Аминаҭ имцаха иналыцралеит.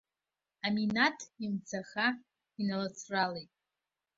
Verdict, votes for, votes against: accepted, 2, 0